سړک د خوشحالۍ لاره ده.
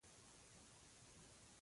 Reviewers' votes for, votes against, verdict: 1, 2, rejected